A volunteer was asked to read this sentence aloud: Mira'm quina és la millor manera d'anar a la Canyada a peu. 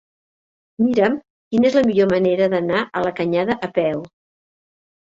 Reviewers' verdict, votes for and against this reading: rejected, 1, 2